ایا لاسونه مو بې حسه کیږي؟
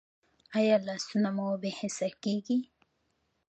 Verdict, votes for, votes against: accepted, 2, 0